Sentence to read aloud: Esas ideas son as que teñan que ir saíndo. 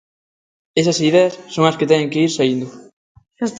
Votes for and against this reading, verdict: 0, 2, rejected